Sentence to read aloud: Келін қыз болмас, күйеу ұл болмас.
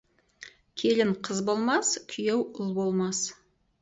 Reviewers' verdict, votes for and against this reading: accepted, 4, 0